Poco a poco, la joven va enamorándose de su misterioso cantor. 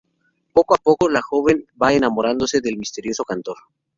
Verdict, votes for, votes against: rejected, 2, 2